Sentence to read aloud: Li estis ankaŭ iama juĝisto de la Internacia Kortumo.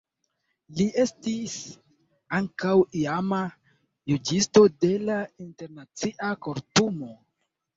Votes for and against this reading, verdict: 1, 2, rejected